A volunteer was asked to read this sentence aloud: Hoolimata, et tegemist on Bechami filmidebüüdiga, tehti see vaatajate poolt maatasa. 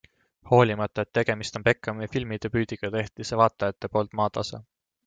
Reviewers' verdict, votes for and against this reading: accepted, 2, 0